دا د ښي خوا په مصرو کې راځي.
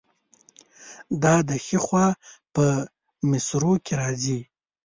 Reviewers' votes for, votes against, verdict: 2, 0, accepted